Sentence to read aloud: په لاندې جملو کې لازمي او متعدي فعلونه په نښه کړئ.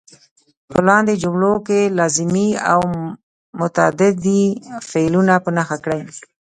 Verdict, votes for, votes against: rejected, 1, 2